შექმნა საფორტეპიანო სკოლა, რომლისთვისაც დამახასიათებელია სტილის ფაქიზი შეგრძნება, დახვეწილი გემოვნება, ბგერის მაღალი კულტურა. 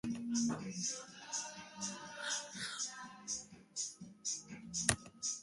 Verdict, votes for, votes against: rejected, 0, 2